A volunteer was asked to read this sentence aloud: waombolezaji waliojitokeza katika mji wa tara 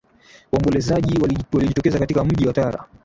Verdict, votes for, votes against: rejected, 0, 2